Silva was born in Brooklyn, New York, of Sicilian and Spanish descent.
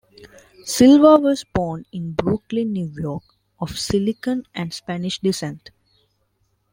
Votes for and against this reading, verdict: 1, 2, rejected